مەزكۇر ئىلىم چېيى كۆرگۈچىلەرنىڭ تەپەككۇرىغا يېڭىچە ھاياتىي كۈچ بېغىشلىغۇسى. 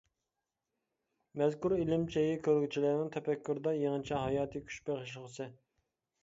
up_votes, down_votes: 0, 2